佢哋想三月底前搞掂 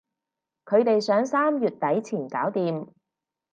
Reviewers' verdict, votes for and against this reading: accepted, 4, 0